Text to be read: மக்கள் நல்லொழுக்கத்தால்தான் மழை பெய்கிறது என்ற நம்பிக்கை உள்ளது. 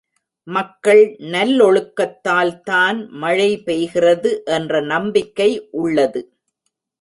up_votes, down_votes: 2, 0